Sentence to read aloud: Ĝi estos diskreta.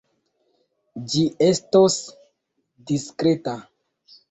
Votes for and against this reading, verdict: 2, 1, accepted